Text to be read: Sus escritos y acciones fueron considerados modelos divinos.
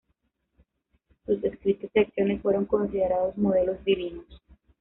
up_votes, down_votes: 0, 2